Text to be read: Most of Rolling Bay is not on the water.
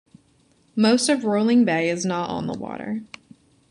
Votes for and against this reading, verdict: 2, 0, accepted